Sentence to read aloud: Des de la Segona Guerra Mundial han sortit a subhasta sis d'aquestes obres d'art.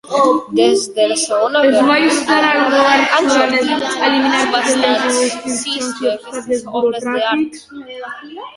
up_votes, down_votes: 0, 2